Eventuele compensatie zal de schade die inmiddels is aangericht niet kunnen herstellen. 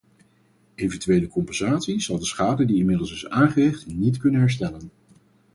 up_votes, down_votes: 4, 0